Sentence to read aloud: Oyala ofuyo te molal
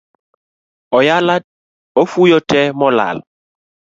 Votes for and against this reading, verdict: 2, 0, accepted